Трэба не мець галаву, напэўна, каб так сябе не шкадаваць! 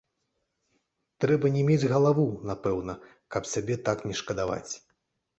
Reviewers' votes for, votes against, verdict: 1, 2, rejected